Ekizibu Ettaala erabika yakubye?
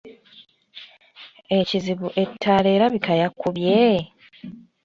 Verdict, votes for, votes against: accepted, 3, 0